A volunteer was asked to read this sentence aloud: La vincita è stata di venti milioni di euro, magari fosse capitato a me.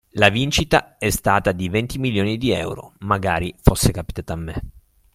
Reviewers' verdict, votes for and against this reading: accepted, 3, 0